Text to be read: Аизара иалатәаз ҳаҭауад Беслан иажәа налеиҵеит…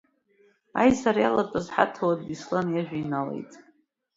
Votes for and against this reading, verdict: 0, 2, rejected